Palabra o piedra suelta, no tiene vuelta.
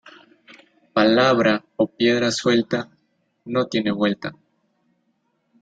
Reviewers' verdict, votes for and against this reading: accepted, 2, 0